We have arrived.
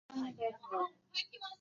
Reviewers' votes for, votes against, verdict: 0, 2, rejected